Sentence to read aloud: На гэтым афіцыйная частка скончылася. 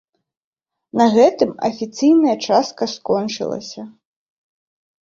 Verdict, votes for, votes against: accepted, 2, 0